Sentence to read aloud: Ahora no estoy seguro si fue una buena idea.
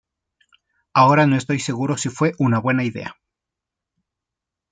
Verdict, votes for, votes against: accepted, 2, 0